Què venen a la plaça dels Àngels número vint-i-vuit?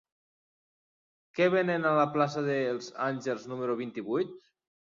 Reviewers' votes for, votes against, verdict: 3, 0, accepted